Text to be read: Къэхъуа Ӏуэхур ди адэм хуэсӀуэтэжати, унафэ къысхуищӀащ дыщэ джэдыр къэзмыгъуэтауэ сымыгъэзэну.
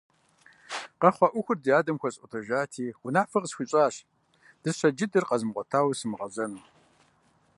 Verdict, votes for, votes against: rejected, 1, 2